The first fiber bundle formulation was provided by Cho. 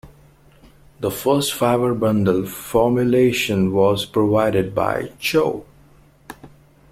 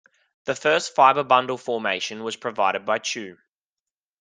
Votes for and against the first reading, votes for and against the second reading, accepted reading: 2, 0, 0, 2, first